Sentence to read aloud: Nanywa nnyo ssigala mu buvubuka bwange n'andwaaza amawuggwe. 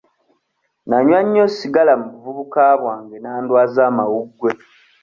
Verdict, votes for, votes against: accepted, 2, 0